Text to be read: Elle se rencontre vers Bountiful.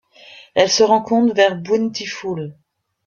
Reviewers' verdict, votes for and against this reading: accepted, 2, 0